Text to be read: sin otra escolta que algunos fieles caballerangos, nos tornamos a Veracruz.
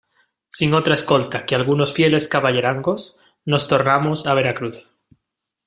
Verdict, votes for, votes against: accepted, 2, 0